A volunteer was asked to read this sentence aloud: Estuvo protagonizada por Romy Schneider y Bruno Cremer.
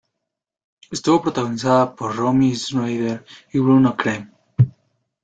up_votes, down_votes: 1, 2